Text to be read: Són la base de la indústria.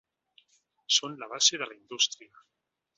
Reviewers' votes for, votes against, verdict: 3, 0, accepted